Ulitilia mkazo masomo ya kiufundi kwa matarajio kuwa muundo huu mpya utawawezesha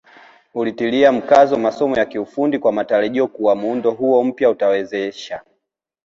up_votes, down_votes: 1, 2